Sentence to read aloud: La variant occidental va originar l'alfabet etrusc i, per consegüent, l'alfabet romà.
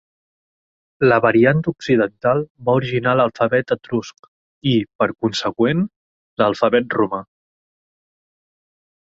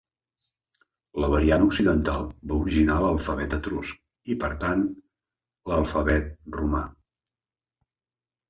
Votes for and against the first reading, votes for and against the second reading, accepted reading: 3, 1, 0, 2, first